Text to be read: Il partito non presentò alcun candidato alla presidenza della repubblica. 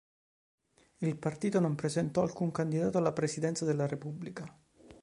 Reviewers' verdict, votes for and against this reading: accepted, 2, 0